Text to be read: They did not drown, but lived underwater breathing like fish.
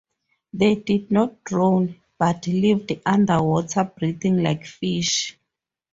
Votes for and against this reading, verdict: 2, 0, accepted